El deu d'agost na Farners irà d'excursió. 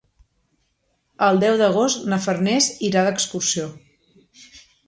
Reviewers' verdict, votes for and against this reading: accepted, 3, 0